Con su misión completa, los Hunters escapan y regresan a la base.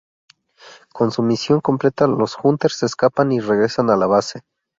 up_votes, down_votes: 2, 0